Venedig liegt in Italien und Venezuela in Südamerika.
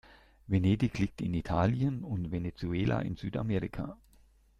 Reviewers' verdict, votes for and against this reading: accepted, 2, 0